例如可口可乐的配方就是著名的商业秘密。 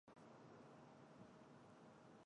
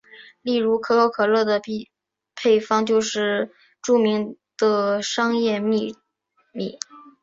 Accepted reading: second